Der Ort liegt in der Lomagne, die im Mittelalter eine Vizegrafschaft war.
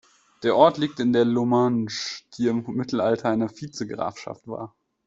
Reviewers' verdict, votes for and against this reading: rejected, 0, 2